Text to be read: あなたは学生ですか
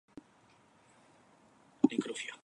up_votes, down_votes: 0, 2